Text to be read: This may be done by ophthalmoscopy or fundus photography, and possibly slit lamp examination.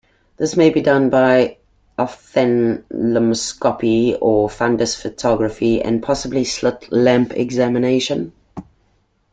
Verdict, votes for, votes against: rejected, 0, 2